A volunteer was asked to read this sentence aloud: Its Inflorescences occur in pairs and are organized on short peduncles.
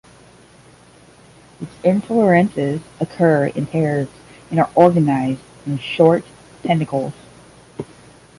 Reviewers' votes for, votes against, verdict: 0, 5, rejected